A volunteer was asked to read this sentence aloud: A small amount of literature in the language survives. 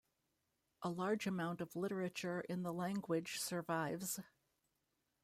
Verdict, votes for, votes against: rejected, 0, 2